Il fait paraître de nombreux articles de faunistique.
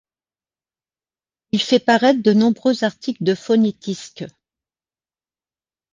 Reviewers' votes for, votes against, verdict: 1, 2, rejected